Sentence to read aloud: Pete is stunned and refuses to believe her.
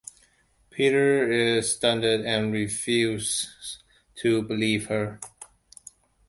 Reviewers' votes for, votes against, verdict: 0, 2, rejected